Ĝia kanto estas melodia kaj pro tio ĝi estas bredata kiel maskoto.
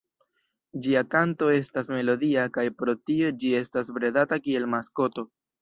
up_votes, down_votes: 1, 2